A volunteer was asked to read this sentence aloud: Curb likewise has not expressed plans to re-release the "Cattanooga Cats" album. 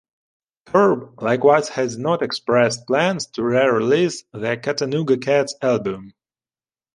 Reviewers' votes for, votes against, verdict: 2, 0, accepted